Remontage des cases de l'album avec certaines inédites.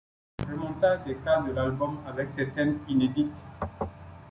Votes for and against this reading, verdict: 0, 2, rejected